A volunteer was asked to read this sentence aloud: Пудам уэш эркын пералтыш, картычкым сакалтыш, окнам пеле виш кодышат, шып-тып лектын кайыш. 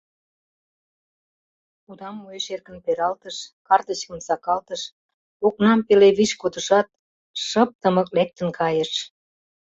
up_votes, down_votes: 0, 2